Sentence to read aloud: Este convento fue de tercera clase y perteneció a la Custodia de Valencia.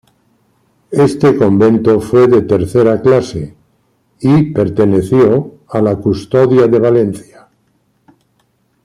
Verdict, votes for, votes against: accepted, 2, 0